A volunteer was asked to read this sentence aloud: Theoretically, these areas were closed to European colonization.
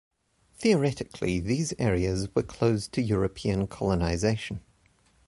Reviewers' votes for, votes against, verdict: 2, 0, accepted